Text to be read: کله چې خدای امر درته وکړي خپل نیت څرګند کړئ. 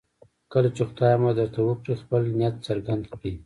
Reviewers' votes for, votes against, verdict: 0, 2, rejected